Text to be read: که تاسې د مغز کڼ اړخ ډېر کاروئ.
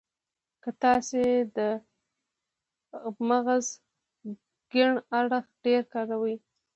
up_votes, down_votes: 1, 2